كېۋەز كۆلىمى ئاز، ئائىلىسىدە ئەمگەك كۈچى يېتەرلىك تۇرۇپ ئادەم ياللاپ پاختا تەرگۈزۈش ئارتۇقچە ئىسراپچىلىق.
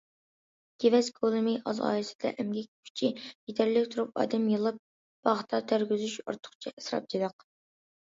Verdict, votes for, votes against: accepted, 2, 0